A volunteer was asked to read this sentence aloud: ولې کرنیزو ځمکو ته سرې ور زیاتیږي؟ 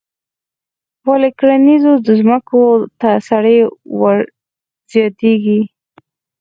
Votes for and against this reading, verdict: 4, 0, accepted